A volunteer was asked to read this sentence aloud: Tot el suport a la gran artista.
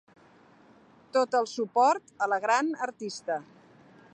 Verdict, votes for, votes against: accepted, 2, 0